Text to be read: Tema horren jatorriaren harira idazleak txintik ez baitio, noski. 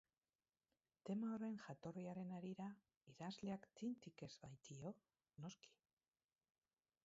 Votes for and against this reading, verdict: 0, 4, rejected